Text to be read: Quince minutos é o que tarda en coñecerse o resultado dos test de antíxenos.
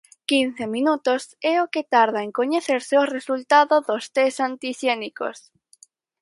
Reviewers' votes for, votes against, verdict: 0, 4, rejected